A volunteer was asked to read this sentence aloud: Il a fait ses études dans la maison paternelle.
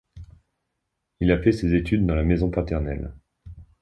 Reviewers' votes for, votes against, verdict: 2, 0, accepted